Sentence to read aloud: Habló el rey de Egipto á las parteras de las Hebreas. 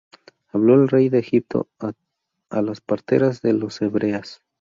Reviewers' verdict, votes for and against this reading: rejected, 0, 2